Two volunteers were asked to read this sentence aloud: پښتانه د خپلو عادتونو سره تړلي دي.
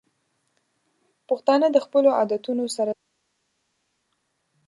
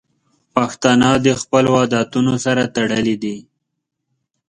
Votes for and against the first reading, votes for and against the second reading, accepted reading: 2, 3, 2, 0, second